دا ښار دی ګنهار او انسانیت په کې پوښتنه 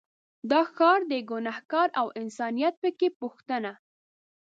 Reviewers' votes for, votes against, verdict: 2, 0, accepted